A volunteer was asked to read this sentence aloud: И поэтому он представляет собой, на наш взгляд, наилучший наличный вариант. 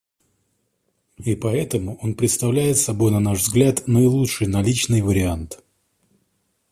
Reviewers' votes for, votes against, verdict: 2, 0, accepted